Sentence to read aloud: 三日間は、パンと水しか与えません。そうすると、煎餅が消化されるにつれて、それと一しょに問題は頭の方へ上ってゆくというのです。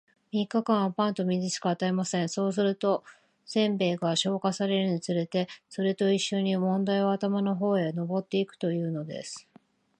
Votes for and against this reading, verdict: 2, 0, accepted